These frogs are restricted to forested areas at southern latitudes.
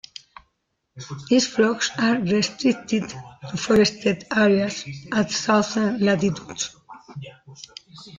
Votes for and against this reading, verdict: 0, 2, rejected